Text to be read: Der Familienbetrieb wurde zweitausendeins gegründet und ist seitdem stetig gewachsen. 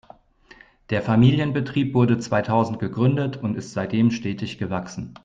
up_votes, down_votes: 0, 2